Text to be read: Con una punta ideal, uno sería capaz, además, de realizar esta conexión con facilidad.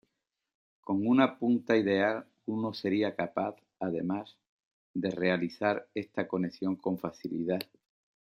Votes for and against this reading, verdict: 2, 1, accepted